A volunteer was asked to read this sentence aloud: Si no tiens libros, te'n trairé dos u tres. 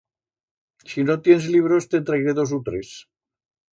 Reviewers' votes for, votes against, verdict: 1, 2, rejected